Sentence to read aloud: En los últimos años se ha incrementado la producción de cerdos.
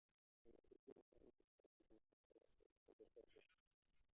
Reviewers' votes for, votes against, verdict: 0, 2, rejected